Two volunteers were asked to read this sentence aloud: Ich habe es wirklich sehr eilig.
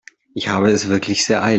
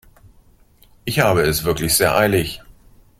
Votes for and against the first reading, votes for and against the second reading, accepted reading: 0, 2, 2, 0, second